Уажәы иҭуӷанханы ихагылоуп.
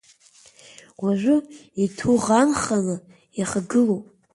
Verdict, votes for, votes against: accepted, 2, 1